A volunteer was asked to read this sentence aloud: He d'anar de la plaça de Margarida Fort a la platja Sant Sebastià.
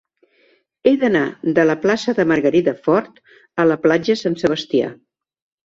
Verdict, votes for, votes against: accepted, 3, 0